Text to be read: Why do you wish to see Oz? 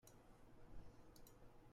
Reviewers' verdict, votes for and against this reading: rejected, 0, 2